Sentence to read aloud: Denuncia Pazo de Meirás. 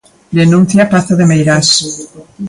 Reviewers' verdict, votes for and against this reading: accepted, 2, 1